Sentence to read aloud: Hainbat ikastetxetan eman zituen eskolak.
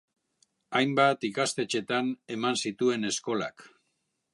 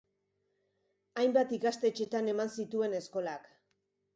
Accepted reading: second